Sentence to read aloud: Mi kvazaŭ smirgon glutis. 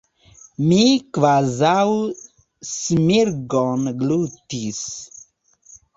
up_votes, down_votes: 1, 2